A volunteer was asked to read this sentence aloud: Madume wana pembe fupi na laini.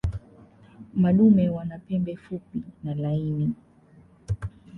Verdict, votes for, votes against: rejected, 1, 2